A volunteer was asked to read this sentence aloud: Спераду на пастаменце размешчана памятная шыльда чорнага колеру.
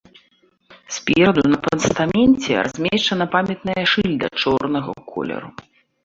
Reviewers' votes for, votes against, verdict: 2, 1, accepted